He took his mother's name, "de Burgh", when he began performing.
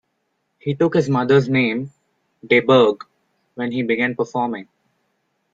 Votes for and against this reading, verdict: 2, 0, accepted